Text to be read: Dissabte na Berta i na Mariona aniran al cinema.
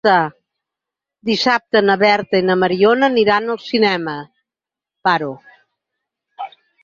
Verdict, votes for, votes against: rejected, 0, 4